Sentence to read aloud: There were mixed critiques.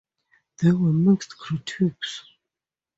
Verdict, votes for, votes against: accepted, 2, 0